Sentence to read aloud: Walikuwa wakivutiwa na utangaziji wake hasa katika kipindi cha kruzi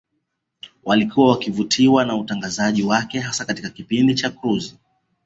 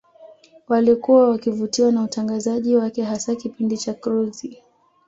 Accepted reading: first